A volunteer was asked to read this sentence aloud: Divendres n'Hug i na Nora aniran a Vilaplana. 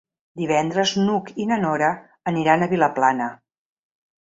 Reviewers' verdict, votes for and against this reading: accepted, 4, 0